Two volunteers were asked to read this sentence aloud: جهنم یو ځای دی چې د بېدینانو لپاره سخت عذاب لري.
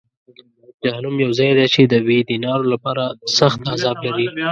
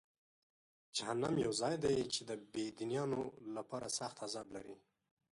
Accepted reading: second